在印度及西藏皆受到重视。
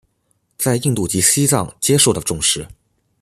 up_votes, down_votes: 2, 0